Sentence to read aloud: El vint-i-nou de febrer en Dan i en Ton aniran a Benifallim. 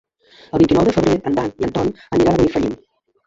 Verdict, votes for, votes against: rejected, 0, 2